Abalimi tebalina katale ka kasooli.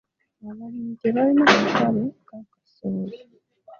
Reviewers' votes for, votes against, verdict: 0, 2, rejected